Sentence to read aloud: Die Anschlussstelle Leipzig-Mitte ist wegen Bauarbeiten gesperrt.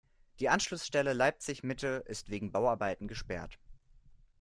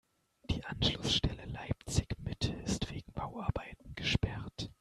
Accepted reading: first